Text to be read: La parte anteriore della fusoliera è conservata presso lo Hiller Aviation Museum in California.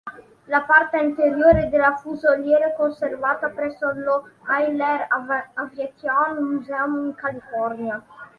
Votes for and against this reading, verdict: 1, 3, rejected